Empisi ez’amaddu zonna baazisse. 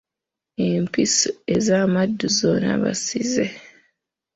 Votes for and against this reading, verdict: 0, 2, rejected